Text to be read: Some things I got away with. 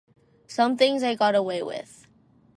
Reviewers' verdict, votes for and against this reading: rejected, 0, 2